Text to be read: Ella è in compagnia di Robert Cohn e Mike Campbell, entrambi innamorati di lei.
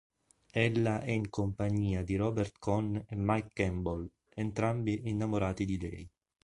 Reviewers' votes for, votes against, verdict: 0, 2, rejected